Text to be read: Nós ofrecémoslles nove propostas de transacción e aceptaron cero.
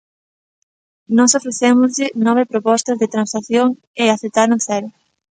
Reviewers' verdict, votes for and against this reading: rejected, 1, 2